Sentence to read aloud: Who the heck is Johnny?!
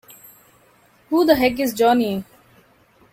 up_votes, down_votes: 2, 0